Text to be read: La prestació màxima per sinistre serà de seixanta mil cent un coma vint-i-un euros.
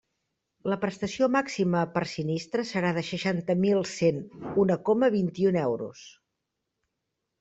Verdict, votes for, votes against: rejected, 1, 2